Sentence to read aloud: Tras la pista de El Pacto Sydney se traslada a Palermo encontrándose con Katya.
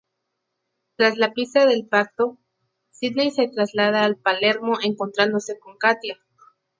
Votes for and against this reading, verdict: 0, 2, rejected